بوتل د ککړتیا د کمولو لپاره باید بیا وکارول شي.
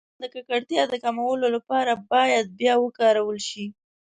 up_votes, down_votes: 0, 2